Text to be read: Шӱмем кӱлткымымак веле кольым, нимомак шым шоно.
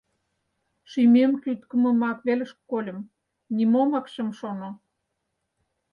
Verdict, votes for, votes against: rejected, 2, 4